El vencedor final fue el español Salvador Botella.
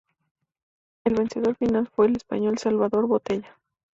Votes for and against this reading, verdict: 2, 0, accepted